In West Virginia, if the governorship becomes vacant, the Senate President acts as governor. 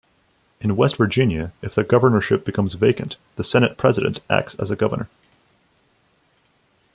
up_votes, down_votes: 0, 2